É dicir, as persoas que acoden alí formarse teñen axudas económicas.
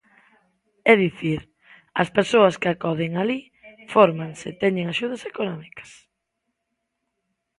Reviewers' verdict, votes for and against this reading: rejected, 0, 2